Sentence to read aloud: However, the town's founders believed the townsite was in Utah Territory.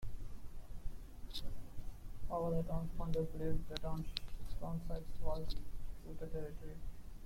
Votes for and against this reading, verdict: 0, 2, rejected